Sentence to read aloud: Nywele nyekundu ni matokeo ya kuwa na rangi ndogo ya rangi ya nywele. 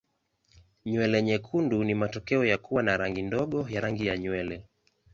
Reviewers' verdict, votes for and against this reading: accepted, 2, 0